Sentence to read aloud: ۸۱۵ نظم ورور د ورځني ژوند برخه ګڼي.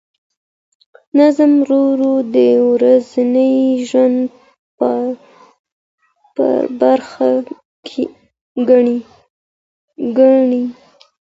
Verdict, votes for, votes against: rejected, 0, 2